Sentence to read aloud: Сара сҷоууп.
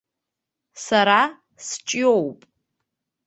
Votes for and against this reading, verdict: 2, 1, accepted